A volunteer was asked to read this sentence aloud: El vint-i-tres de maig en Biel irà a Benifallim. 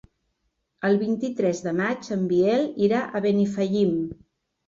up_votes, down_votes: 4, 0